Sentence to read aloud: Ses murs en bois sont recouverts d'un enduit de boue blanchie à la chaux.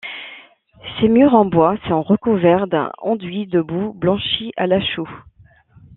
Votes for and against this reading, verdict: 1, 2, rejected